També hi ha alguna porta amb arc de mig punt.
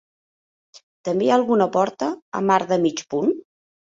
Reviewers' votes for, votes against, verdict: 1, 2, rejected